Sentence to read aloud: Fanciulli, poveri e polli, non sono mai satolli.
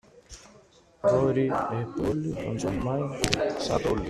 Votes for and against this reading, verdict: 0, 2, rejected